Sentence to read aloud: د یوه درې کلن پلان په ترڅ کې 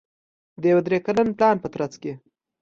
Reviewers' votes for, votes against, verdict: 2, 0, accepted